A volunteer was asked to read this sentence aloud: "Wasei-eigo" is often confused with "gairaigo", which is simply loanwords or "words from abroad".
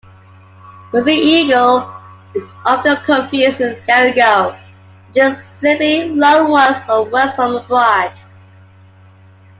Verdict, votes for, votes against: rejected, 1, 2